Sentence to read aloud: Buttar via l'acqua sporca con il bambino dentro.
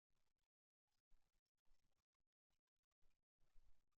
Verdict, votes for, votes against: rejected, 0, 2